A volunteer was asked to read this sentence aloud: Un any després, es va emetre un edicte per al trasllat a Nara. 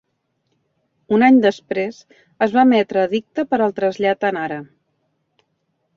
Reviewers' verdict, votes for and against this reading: rejected, 1, 2